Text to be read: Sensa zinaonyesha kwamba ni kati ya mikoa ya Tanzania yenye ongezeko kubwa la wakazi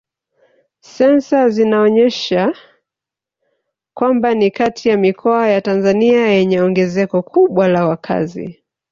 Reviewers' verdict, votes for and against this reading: rejected, 0, 2